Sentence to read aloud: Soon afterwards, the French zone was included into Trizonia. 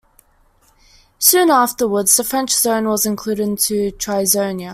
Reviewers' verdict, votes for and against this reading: accepted, 2, 0